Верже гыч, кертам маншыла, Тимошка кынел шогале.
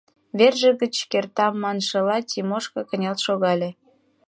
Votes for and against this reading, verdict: 2, 0, accepted